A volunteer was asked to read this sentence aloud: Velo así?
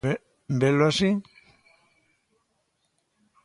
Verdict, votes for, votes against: rejected, 1, 2